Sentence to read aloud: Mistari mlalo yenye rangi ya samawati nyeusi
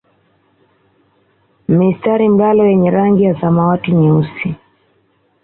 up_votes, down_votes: 2, 0